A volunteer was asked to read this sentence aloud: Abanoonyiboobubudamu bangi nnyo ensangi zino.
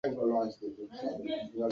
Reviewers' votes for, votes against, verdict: 0, 3, rejected